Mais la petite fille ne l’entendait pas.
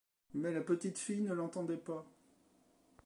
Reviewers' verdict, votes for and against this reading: rejected, 1, 2